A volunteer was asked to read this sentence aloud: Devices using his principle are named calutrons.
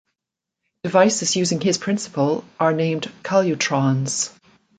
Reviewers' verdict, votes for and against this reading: accepted, 2, 0